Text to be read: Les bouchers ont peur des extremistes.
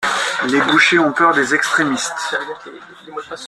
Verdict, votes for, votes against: accepted, 2, 1